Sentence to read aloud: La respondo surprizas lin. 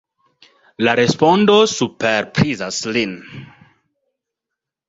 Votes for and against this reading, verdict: 0, 2, rejected